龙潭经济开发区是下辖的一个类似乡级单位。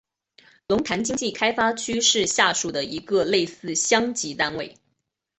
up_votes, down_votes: 4, 2